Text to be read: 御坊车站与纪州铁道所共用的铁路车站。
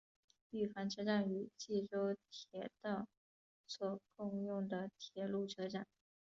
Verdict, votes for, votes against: rejected, 1, 2